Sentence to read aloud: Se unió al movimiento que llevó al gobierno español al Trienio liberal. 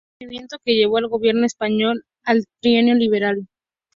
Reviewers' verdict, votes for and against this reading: rejected, 0, 2